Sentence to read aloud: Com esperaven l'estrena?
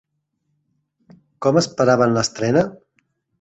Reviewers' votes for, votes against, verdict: 3, 0, accepted